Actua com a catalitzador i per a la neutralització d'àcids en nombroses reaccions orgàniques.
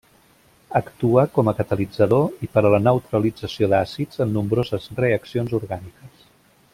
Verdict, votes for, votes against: accepted, 3, 0